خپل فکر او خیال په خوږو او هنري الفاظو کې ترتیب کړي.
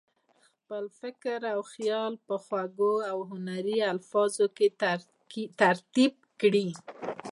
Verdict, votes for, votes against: accepted, 2, 0